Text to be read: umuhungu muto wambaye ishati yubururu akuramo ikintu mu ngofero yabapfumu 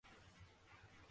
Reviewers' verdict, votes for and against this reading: rejected, 0, 2